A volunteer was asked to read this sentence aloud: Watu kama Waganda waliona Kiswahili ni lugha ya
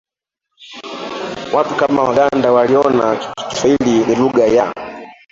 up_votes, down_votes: 0, 2